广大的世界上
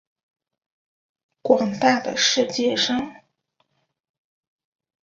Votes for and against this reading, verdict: 2, 0, accepted